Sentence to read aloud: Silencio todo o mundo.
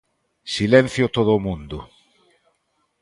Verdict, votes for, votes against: accepted, 3, 0